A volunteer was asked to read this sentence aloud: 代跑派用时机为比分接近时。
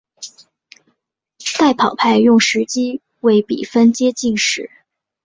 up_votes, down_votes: 1, 2